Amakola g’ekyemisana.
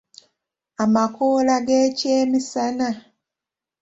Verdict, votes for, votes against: accepted, 2, 1